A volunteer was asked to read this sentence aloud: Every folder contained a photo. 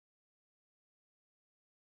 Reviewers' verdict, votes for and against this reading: rejected, 0, 3